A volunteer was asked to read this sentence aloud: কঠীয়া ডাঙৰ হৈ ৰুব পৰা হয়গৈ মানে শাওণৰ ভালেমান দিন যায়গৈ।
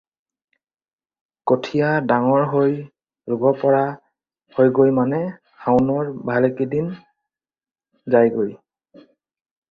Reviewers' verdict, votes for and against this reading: rejected, 0, 4